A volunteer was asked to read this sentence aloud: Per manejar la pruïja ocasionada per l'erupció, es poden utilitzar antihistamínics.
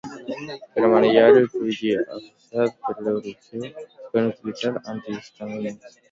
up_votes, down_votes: 0, 2